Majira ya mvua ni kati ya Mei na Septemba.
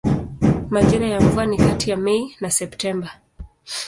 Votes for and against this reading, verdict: 2, 0, accepted